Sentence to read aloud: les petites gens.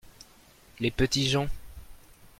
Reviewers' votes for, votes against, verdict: 1, 2, rejected